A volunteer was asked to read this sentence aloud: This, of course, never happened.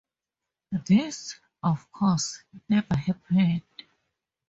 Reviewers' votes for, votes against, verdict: 2, 0, accepted